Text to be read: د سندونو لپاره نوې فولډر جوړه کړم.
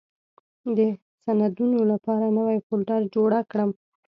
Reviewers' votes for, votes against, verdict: 2, 0, accepted